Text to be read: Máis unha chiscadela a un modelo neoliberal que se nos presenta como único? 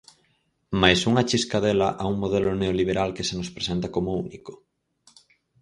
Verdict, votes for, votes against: accepted, 4, 0